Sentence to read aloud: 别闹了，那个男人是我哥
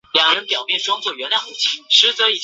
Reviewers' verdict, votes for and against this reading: rejected, 0, 2